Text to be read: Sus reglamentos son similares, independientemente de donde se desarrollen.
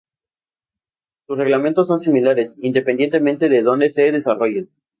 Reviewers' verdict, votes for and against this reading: accepted, 2, 0